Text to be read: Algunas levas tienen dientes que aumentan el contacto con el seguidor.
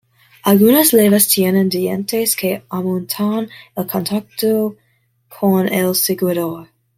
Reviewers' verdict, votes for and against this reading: rejected, 1, 2